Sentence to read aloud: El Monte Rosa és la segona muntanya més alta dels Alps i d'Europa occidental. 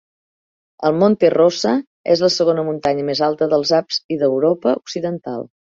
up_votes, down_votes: 1, 2